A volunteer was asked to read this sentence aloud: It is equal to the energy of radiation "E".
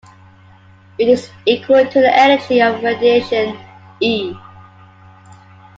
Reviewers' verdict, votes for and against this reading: accepted, 2, 1